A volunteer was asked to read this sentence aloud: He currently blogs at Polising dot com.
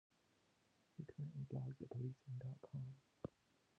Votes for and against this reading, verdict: 1, 2, rejected